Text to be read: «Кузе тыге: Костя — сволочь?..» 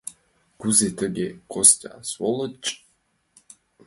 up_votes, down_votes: 2, 0